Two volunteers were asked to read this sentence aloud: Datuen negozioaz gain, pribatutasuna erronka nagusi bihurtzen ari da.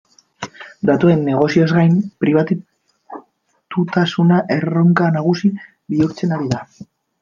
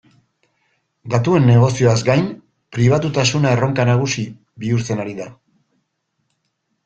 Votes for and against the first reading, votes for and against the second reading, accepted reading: 0, 2, 2, 0, second